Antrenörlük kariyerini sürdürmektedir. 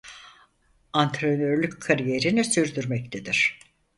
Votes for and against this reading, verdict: 4, 0, accepted